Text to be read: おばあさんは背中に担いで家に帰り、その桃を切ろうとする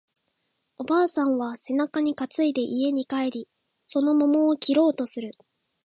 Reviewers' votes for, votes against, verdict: 2, 0, accepted